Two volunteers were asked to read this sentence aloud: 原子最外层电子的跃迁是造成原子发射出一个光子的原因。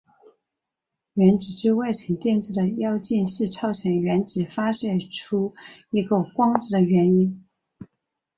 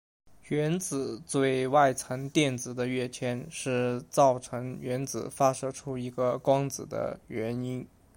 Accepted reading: second